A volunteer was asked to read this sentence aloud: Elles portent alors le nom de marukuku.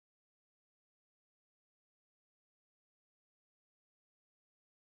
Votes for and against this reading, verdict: 0, 3, rejected